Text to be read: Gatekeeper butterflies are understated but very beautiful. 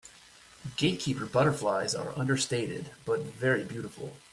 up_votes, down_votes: 2, 0